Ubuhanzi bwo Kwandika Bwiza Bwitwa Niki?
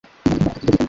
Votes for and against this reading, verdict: 1, 2, rejected